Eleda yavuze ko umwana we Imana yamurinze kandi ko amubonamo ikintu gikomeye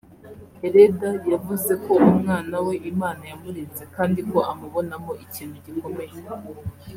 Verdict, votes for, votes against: accepted, 3, 1